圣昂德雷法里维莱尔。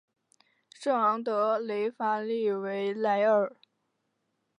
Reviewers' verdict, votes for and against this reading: accepted, 2, 1